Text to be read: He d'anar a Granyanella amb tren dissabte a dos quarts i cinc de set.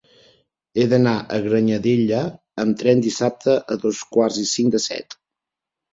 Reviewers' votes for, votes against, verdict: 1, 2, rejected